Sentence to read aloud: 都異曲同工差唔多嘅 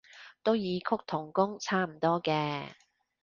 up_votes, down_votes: 2, 0